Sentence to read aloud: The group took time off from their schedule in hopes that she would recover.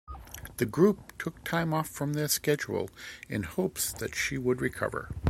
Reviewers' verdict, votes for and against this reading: accepted, 2, 1